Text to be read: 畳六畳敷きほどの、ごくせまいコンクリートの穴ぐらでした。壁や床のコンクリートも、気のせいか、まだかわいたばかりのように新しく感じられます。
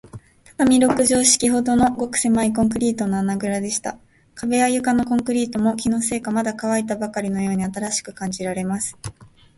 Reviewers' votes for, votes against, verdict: 2, 2, rejected